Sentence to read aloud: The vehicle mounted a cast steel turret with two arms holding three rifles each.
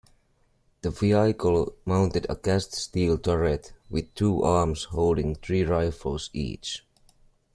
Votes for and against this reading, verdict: 2, 0, accepted